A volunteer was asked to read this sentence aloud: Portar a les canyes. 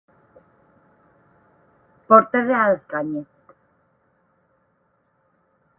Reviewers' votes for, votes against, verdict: 0, 8, rejected